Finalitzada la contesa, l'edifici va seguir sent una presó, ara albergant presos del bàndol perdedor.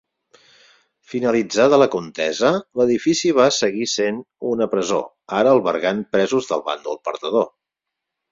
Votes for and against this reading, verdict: 4, 0, accepted